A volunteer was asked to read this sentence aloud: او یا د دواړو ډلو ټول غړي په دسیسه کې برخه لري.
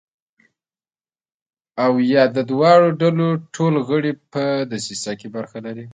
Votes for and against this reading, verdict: 1, 2, rejected